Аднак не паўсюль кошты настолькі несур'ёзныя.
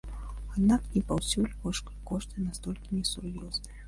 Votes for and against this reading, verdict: 1, 3, rejected